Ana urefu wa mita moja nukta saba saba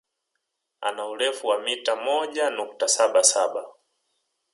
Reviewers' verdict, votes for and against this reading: accepted, 2, 0